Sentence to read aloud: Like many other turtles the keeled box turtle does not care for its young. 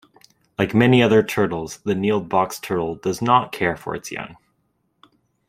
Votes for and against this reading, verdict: 0, 2, rejected